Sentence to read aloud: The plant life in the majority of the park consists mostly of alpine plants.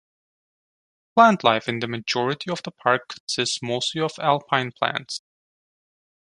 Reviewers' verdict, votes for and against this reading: rejected, 1, 2